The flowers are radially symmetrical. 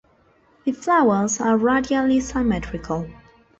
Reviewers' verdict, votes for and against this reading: accepted, 2, 1